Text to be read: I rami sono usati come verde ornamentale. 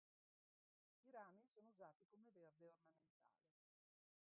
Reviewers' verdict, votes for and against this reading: rejected, 0, 2